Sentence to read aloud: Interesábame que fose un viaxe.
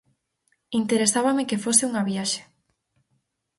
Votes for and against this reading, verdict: 0, 2, rejected